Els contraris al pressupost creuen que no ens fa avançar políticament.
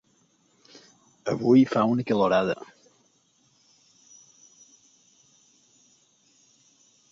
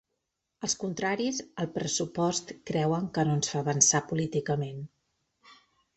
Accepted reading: second